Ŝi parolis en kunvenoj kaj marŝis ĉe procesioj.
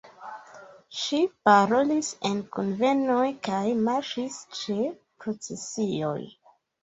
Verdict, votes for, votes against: rejected, 1, 2